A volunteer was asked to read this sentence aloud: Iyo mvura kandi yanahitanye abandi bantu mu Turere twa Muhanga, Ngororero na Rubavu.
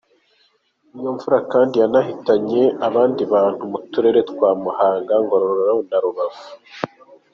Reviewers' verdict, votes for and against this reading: accepted, 2, 0